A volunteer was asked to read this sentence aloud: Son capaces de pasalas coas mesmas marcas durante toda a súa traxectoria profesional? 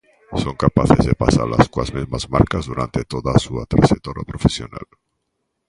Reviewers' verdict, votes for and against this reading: rejected, 0, 2